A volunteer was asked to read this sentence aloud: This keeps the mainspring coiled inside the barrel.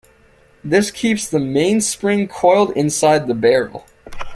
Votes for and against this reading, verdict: 2, 0, accepted